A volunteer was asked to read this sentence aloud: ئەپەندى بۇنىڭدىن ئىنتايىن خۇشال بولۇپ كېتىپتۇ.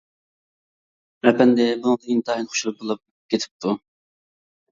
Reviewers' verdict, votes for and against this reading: rejected, 1, 2